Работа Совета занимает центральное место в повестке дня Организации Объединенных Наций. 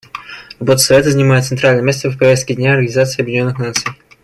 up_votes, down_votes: 1, 2